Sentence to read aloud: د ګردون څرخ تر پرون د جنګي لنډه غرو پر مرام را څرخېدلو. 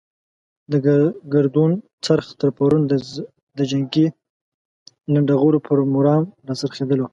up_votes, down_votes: 0, 2